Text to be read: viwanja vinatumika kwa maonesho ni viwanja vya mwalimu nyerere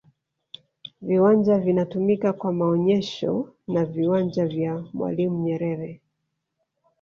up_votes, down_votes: 1, 2